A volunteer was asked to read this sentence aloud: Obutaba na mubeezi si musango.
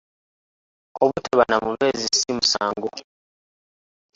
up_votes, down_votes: 1, 2